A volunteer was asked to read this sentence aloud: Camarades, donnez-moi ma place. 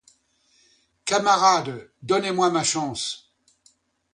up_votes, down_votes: 0, 2